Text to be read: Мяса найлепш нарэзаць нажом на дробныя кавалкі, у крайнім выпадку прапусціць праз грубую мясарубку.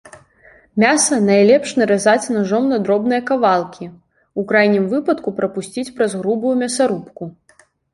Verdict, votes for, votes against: rejected, 0, 2